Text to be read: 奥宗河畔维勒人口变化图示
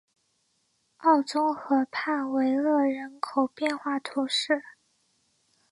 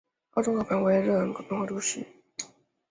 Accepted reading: first